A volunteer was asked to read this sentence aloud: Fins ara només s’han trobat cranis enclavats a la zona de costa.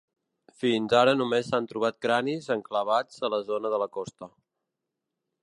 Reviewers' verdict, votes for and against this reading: rejected, 0, 2